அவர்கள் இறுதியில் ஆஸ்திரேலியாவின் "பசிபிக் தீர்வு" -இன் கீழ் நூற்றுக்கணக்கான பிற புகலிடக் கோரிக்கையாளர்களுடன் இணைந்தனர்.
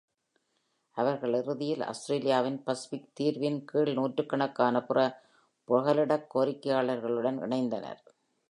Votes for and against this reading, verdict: 2, 0, accepted